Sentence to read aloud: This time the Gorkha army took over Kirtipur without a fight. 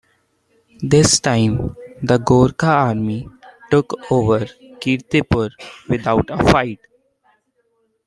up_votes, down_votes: 2, 0